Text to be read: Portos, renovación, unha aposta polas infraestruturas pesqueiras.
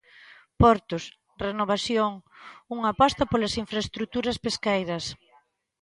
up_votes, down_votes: 2, 0